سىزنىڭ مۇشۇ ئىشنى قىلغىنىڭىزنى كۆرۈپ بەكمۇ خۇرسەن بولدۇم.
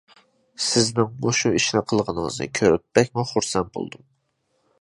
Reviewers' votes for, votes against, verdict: 2, 0, accepted